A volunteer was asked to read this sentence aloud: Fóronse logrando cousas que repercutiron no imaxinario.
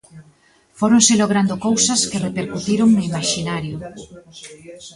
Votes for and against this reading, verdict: 1, 2, rejected